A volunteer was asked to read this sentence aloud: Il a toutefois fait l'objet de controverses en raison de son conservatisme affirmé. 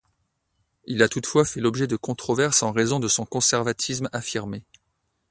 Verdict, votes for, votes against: accepted, 2, 0